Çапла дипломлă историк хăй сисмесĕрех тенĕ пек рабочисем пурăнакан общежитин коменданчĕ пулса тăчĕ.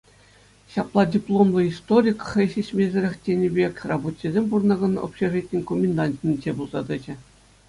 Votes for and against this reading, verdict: 2, 0, accepted